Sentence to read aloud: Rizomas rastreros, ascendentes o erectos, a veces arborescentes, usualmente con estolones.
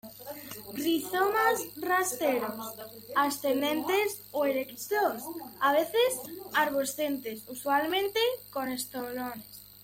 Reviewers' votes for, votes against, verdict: 0, 2, rejected